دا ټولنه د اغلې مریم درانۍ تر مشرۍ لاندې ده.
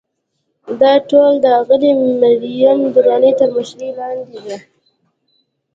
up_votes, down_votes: 2, 0